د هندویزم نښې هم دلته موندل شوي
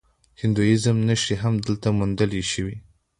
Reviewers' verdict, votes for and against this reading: rejected, 0, 2